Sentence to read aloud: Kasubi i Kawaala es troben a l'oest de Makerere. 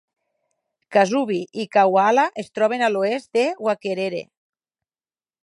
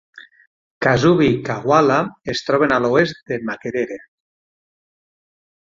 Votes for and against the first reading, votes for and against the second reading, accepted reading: 0, 4, 9, 0, second